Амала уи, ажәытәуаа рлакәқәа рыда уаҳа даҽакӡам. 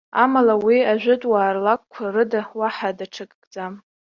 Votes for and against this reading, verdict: 2, 0, accepted